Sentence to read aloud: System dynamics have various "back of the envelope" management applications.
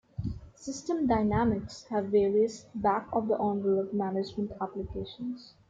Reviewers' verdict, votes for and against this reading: accepted, 2, 1